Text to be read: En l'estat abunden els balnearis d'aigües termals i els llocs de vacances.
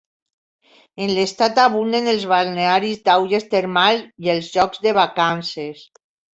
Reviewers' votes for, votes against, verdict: 1, 2, rejected